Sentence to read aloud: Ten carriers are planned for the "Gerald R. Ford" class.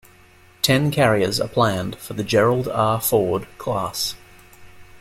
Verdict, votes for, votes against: accepted, 2, 0